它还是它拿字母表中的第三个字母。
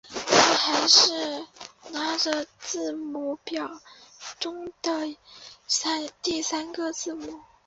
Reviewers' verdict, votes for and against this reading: rejected, 1, 3